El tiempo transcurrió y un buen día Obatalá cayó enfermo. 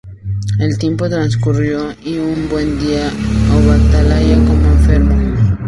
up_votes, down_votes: 0, 4